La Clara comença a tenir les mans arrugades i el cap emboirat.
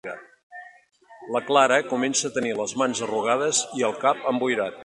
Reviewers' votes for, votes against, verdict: 4, 0, accepted